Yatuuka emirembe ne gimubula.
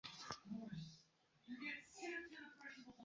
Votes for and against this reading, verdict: 0, 2, rejected